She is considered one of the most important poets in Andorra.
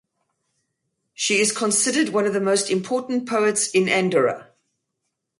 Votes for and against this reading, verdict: 4, 0, accepted